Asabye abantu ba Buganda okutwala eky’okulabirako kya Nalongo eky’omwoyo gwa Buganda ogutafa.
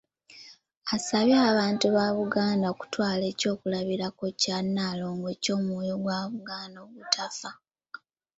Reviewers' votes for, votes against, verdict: 2, 1, accepted